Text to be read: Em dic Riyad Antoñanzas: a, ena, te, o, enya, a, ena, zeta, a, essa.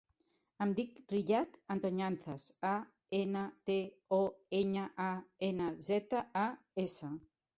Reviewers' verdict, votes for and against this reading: accepted, 2, 0